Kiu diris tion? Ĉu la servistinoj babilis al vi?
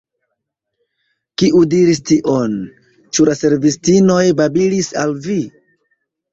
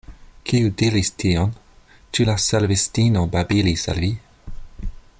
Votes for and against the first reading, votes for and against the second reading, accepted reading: 2, 0, 1, 2, first